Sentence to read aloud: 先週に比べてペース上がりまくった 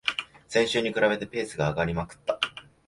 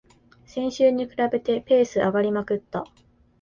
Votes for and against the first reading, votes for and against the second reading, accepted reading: 0, 2, 2, 0, second